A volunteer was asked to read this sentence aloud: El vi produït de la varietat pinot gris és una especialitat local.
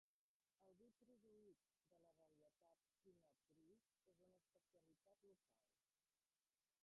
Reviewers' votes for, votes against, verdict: 0, 2, rejected